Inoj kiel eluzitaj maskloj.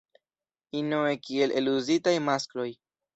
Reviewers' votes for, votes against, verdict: 2, 0, accepted